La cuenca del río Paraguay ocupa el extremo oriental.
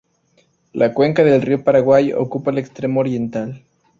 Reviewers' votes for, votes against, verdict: 2, 0, accepted